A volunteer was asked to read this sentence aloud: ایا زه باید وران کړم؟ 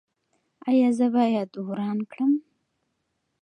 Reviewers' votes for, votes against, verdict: 2, 0, accepted